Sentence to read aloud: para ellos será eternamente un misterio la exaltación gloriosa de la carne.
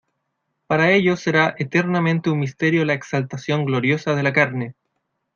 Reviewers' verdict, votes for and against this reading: accepted, 2, 0